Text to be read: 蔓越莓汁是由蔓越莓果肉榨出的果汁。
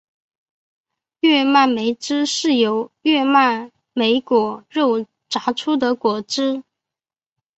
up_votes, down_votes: 1, 3